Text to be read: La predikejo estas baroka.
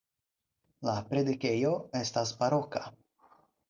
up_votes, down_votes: 4, 0